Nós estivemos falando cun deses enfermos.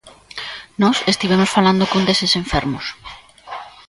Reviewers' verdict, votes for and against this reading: accepted, 2, 0